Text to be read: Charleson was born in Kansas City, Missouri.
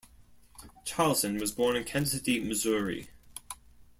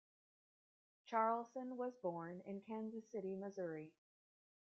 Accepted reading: second